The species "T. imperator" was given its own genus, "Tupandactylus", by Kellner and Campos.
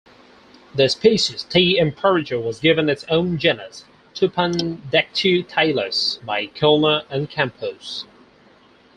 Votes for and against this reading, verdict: 4, 0, accepted